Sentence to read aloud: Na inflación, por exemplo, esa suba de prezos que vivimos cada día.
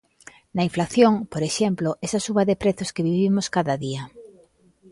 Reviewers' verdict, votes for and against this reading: accepted, 2, 1